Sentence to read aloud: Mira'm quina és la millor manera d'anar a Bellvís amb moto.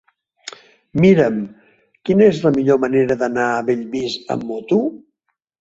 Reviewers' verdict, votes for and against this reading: rejected, 0, 2